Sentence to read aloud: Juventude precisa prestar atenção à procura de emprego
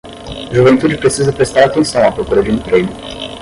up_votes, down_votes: 0, 5